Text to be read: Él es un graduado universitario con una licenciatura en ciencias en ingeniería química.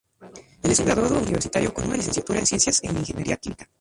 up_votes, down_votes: 2, 0